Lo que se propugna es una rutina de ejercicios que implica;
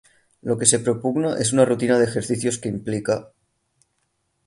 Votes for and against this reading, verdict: 3, 0, accepted